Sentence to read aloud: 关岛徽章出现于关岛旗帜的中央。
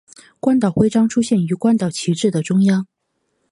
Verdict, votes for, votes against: accepted, 2, 0